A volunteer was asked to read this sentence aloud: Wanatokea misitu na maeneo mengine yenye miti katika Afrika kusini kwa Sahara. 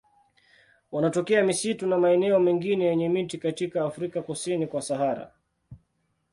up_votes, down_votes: 2, 0